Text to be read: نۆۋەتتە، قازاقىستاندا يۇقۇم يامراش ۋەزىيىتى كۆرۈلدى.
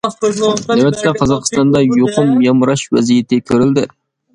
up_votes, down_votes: 2, 1